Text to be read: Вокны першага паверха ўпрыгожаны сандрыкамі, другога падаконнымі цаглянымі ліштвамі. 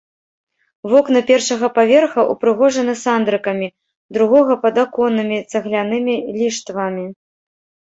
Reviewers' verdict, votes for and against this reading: rejected, 0, 2